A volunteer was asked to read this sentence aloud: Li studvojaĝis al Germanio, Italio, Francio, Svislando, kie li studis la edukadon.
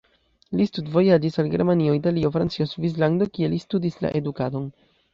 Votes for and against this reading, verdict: 0, 2, rejected